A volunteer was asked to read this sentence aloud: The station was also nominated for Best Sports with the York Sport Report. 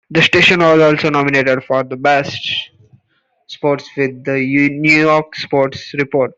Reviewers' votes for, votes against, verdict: 1, 2, rejected